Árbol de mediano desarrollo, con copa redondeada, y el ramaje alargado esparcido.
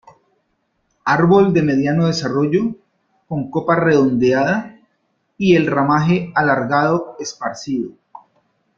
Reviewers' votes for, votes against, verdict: 2, 0, accepted